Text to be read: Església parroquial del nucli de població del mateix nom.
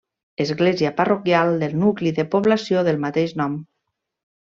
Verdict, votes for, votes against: accepted, 3, 0